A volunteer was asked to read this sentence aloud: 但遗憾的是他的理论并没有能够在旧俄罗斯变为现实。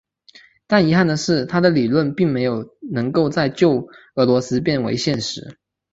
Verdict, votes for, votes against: rejected, 1, 2